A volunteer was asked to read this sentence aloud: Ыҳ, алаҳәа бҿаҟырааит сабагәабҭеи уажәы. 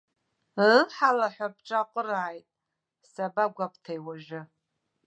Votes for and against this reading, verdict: 2, 0, accepted